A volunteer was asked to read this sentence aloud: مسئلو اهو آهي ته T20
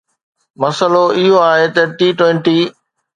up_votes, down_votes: 0, 2